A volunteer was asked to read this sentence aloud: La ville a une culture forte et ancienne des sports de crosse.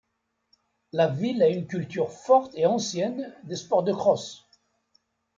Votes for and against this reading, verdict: 2, 0, accepted